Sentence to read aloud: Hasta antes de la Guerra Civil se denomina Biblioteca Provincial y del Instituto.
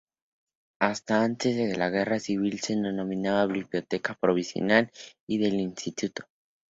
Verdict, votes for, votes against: rejected, 0, 2